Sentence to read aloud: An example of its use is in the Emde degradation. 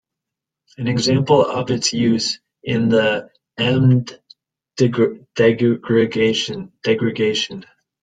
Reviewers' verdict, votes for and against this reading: rejected, 0, 2